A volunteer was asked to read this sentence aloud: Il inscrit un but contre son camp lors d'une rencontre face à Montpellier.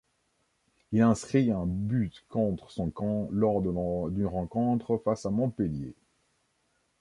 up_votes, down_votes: 1, 2